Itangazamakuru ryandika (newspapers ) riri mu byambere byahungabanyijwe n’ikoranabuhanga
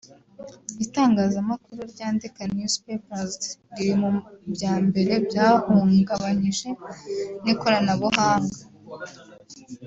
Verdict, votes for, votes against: rejected, 1, 2